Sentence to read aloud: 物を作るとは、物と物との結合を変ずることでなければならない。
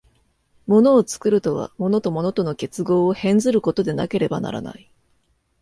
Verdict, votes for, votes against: accepted, 2, 0